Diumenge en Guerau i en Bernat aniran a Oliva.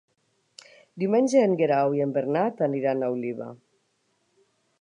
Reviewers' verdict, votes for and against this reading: accepted, 3, 0